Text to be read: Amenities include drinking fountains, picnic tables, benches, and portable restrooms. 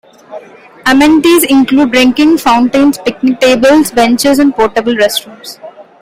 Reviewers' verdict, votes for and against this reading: accepted, 2, 0